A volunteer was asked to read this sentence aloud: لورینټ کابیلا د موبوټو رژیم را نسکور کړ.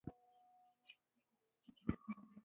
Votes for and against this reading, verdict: 2, 3, rejected